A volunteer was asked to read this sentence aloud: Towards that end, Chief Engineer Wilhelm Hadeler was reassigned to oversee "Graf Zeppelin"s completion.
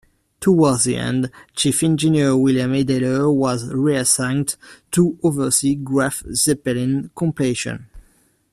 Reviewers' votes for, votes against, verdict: 0, 2, rejected